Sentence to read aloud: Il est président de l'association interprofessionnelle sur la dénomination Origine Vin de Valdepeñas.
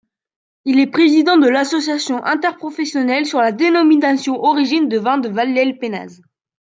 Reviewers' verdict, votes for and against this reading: rejected, 0, 2